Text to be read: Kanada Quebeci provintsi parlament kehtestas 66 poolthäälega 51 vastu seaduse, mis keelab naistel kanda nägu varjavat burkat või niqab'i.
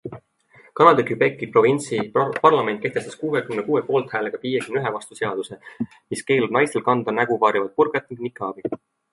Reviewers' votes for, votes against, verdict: 0, 2, rejected